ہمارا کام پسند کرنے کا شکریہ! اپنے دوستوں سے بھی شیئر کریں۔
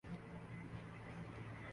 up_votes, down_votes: 2, 4